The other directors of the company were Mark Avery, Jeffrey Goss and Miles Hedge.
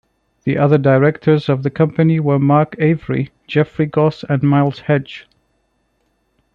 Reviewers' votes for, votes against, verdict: 2, 0, accepted